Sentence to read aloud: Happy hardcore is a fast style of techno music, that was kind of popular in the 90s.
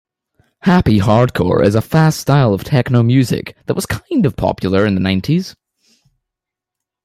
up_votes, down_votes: 0, 2